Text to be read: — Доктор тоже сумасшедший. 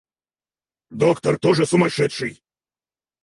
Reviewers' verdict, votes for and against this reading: rejected, 2, 4